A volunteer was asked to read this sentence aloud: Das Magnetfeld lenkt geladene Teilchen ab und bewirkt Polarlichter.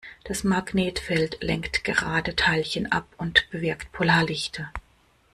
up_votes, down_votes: 0, 2